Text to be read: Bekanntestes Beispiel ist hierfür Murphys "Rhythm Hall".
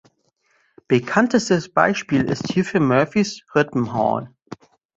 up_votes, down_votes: 0, 2